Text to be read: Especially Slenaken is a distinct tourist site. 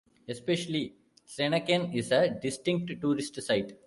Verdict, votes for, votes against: accepted, 2, 1